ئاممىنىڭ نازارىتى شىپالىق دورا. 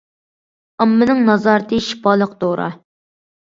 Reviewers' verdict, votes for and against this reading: accepted, 2, 0